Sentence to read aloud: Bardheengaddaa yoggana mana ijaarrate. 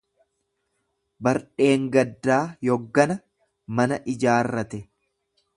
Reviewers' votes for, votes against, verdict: 2, 0, accepted